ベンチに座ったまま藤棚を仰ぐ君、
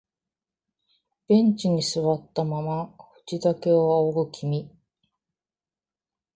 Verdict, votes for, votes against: accepted, 3, 2